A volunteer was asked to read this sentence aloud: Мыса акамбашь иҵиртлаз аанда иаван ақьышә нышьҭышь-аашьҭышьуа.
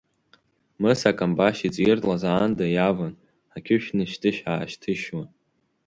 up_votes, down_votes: 3, 0